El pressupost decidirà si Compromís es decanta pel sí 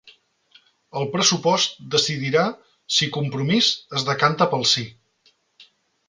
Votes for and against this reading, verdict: 3, 0, accepted